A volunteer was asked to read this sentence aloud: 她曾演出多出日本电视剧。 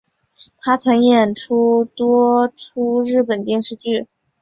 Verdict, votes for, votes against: accepted, 2, 0